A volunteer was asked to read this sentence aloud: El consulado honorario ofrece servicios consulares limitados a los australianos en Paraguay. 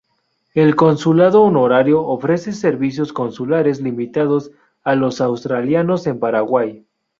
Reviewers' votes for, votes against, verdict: 2, 0, accepted